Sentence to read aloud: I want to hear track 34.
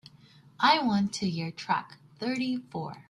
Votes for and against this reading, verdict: 0, 2, rejected